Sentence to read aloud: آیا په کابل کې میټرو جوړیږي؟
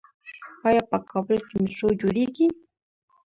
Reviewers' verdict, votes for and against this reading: rejected, 0, 2